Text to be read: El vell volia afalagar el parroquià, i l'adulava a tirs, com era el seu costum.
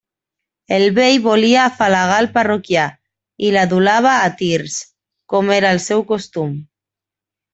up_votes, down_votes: 2, 0